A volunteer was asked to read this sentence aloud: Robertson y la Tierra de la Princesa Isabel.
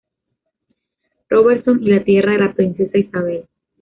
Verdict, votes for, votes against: accepted, 2, 0